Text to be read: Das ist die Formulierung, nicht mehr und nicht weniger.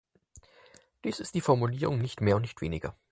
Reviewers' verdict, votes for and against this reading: accepted, 6, 0